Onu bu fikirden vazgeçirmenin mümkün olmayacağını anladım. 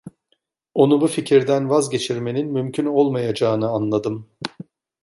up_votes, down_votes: 2, 0